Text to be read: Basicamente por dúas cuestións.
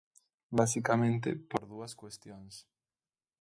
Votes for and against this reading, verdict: 3, 0, accepted